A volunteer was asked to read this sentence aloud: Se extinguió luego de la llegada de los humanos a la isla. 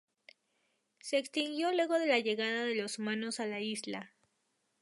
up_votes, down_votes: 0, 2